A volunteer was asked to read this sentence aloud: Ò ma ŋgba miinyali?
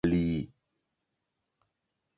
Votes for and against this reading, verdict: 0, 2, rejected